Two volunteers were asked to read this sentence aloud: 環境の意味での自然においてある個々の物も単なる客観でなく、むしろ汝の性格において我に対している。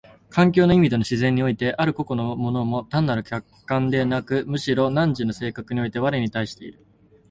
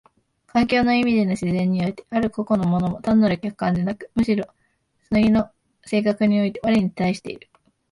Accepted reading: first